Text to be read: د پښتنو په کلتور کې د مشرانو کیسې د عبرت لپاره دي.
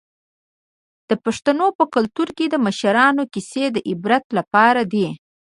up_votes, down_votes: 1, 2